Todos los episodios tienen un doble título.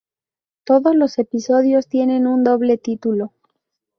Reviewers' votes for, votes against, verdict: 2, 0, accepted